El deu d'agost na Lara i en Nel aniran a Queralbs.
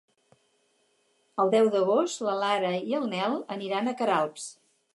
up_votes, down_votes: 0, 4